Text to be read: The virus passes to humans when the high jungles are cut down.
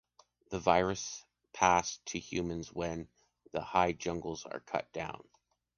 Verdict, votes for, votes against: rejected, 0, 2